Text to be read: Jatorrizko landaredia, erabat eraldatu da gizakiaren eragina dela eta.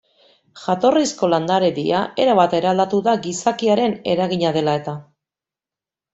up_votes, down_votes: 2, 0